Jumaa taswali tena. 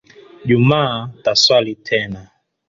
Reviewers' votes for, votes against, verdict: 2, 1, accepted